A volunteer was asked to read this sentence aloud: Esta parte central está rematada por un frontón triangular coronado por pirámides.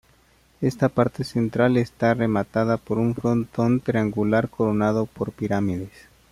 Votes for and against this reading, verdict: 2, 0, accepted